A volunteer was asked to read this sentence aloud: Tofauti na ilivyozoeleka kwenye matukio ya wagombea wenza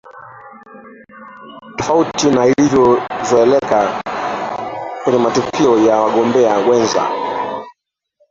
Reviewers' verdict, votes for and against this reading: rejected, 0, 3